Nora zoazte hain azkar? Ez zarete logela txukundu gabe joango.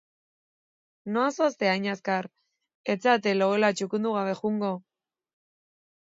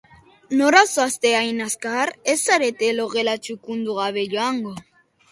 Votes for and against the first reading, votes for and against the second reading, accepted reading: 1, 2, 3, 0, second